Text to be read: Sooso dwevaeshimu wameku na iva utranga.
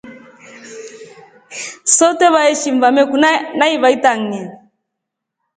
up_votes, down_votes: 1, 2